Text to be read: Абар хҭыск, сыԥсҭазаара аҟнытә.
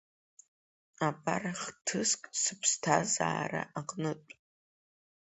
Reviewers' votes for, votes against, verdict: 4, 1, accepted